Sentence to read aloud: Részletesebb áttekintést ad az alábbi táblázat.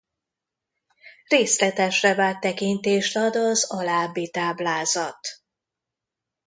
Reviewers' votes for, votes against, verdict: 0, 2, rejected